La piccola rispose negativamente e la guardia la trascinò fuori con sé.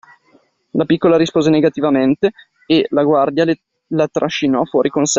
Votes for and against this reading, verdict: 2, 1, accepted